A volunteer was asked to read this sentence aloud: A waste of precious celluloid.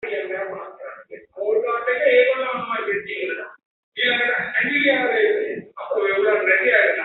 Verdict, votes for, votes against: rejected, 0, 3